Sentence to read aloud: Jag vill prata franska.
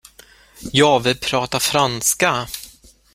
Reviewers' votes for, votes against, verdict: 1, 2, rejected